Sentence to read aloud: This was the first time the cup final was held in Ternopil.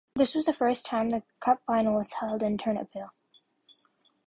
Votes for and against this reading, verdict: 2, 0, accepted